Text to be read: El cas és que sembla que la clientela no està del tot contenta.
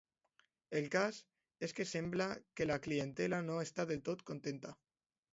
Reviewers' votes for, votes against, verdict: 3, 0, accepted